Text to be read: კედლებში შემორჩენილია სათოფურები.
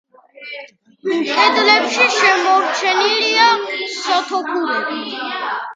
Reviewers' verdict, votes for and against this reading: rejected, 1, 2